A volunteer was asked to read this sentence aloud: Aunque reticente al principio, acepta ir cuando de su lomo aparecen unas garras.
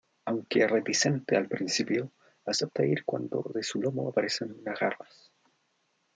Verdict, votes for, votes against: rejected, 1, 2